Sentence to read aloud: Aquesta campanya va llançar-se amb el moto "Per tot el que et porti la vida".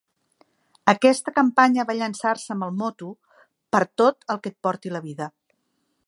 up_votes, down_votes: 3, 0